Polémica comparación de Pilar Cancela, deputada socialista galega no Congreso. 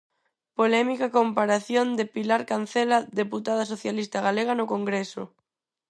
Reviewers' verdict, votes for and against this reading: accepted, 4, 0